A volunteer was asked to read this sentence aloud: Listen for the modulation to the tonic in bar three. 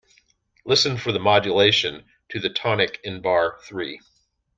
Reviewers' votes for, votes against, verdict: 2, 0, accepted